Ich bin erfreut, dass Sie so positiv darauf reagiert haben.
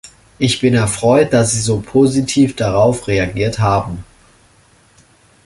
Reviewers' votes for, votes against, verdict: 2, 0, accepted